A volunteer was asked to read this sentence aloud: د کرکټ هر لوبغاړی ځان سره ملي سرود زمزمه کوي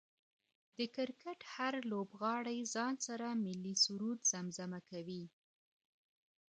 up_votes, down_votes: 2, 0